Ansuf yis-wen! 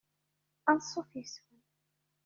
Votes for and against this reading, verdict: 2, 0, accepted